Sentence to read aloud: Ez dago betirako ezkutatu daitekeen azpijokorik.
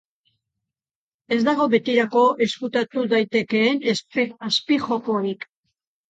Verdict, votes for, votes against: rejected, 0, 2